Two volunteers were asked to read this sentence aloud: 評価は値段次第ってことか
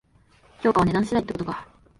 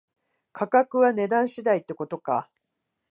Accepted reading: first